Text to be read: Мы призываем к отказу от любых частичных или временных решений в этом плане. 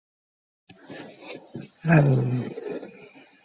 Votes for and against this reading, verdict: 0, 2, rejected